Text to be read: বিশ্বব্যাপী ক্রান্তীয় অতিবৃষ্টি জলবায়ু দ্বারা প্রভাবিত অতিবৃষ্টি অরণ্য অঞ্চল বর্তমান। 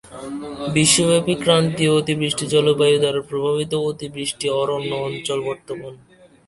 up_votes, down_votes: 2, 0